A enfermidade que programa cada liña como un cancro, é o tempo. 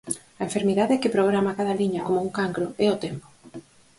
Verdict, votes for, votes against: accepted, 4, 0